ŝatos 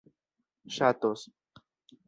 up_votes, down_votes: 1, 2